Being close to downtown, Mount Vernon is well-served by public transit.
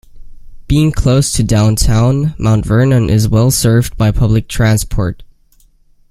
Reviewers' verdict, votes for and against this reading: rejected, 0, 2